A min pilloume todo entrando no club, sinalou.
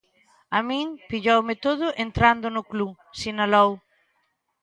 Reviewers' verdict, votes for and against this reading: accepted, 2, 0